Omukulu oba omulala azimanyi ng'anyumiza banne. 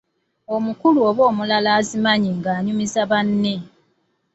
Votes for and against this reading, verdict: 2, 0, accepted